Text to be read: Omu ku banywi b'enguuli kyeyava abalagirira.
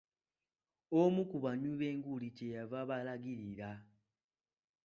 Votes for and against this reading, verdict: 2, 0, accepted